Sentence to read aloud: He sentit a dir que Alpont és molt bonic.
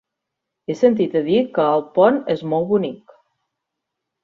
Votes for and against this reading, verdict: 2, 0, accepted